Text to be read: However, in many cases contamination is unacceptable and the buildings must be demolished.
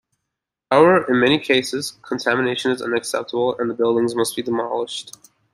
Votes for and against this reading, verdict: 2, 0, accepted